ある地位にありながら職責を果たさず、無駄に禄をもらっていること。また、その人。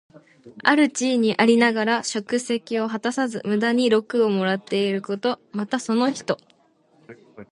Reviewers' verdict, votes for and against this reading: accepted, 2, 1